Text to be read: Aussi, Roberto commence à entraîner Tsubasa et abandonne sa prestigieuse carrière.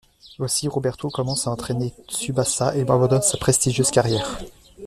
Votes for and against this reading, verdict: 1, 2, rejected